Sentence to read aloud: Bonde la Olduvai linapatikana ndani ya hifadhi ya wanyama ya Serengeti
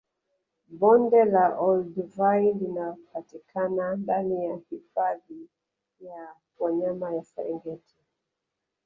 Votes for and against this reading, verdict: 2, 1, accepted